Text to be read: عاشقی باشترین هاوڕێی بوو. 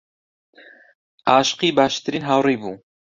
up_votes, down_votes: 2, 0